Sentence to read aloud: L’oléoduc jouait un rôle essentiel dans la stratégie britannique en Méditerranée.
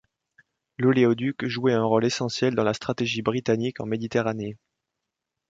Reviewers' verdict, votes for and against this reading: accepted, 2, 0